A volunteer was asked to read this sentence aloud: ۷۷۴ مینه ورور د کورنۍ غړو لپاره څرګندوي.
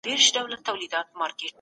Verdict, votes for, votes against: rejected, 0, 2